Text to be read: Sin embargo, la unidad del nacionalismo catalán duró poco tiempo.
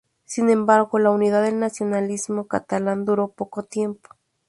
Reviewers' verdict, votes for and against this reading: accepted, 2, 0